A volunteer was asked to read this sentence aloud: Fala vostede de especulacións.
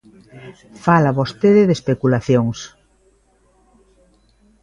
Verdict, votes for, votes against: accepted, 2, 0